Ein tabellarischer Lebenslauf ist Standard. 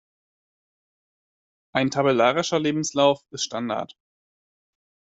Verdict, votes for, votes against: accepted, 2, 0